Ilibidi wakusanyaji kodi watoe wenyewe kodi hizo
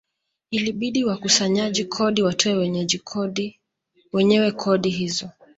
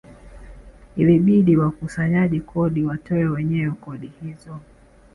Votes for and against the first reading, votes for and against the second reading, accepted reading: 1, 2, 2, 0, second